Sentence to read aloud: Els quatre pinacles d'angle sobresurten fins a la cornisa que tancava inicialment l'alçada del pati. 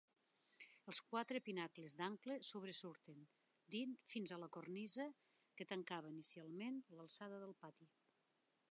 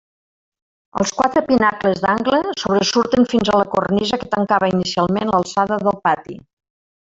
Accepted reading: second